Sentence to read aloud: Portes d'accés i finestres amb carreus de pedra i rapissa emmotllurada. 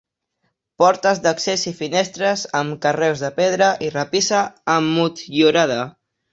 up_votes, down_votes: 2, 0